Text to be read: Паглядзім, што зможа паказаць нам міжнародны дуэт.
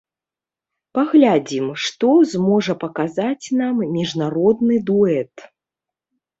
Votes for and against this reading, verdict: 0, 2, rejected